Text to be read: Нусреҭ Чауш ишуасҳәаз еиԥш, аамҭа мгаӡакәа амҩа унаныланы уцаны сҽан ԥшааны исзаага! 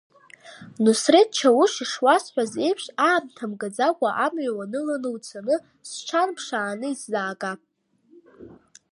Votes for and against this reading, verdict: 2, 1, accepted